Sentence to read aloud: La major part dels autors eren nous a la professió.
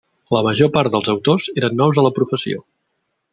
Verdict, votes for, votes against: rejected, 1, 2